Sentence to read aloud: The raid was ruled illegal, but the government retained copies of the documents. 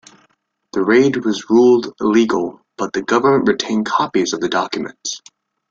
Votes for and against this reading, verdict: 2, 0, accepted